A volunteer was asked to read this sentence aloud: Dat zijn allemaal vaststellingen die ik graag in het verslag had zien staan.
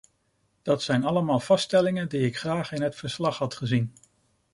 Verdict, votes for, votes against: rejected, 0, 2